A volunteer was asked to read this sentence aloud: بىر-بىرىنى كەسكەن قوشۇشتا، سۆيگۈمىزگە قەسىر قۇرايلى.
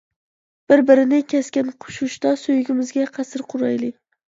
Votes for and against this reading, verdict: 1, 2, rejected